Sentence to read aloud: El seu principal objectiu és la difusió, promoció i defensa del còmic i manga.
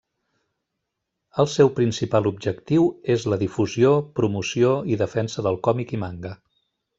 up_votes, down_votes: 1, 2